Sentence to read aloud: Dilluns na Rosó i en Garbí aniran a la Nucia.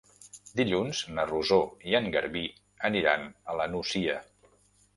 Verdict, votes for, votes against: rejected, 0, 2